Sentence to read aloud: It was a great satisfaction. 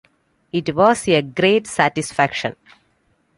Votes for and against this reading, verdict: 2, 0, accepted